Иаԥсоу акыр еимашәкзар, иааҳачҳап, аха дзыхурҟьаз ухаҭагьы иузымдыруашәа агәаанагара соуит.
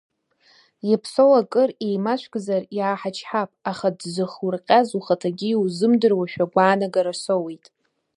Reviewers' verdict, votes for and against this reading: accepted, 2, 0